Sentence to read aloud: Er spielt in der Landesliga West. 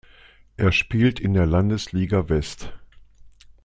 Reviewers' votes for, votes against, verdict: 2, 0, accepted